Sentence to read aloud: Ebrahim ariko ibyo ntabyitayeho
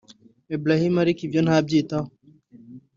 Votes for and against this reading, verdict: 2, 0, accepted